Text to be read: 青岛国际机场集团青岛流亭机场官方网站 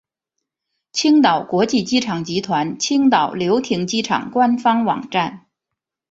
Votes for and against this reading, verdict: 4, 0, accepted